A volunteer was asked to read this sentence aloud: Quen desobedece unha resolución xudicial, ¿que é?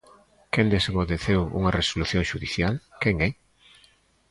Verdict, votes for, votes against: rejected, 0, 2